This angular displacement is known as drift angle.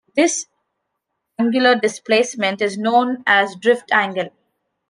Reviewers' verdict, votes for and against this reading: accepted, 2, 1